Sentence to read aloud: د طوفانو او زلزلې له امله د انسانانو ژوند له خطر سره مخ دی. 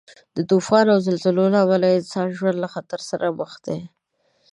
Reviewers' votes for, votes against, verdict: 2, 0, accepted